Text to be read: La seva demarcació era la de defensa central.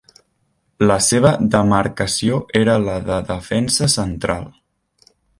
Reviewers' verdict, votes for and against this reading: accepted, 4, 0